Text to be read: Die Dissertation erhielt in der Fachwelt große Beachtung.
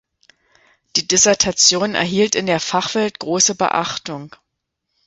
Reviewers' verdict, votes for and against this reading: accepted, 2, 0